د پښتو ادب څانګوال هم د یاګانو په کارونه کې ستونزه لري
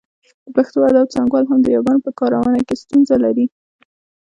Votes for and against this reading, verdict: 1, 2, rejected